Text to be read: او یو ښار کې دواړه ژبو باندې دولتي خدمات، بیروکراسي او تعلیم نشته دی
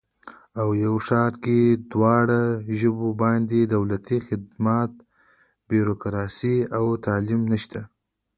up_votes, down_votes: 0, 2